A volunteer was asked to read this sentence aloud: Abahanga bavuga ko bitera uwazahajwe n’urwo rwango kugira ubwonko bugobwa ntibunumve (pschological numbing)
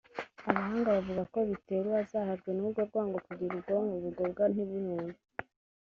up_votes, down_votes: 0, 2